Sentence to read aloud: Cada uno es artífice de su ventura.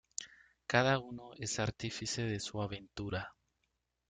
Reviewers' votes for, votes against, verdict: 1, 2, rejected